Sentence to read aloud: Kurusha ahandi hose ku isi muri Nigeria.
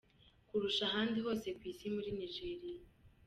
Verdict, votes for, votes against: rejected, 1, 2